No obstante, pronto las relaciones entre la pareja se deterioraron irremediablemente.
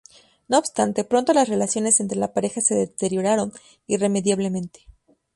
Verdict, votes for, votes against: accepted, 2, 0